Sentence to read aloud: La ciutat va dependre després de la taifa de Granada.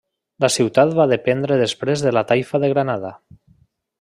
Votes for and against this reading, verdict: 3, 0, accepted